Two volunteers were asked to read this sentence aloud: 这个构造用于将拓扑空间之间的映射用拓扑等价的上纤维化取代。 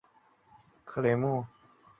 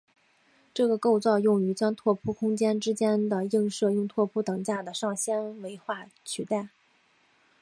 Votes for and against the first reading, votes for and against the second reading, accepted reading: 0, 2, 2, 0, second